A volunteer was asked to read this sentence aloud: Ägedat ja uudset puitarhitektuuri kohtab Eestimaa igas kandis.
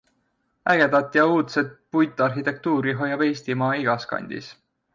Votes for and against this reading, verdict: 0, 2, rejected